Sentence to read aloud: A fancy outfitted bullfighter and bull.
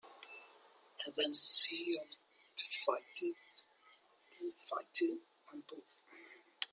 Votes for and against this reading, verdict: 0, 2, rejected